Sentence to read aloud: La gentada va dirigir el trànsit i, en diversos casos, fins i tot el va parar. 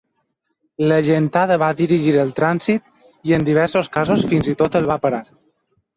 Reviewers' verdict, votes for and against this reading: accepted, 2, 1